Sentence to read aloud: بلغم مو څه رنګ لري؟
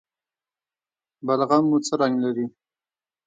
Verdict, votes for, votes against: accepted, 2, 1